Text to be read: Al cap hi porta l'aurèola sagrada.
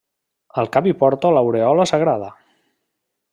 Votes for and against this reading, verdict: 1, 2, rejected